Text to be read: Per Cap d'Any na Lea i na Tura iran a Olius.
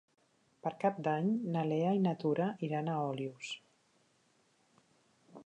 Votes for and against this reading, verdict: 4, 0, accepted